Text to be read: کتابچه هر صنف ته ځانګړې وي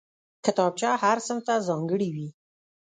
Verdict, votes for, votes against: rejected, 1, 2